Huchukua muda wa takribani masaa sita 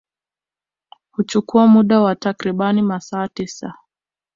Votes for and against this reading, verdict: 1, 2, rejected